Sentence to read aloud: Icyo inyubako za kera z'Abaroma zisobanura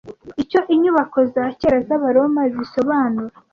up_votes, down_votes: 2, 0